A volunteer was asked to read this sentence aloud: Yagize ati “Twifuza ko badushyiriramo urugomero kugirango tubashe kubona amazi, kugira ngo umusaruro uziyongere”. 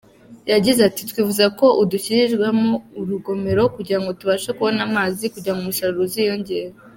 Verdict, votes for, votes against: rejected, 0, 2